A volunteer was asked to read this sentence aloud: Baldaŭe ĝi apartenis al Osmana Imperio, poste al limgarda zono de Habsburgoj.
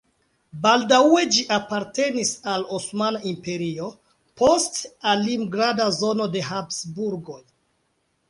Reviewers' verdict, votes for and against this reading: accepted, 3, 0